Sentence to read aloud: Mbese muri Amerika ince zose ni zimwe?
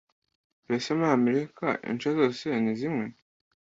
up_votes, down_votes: 2, 1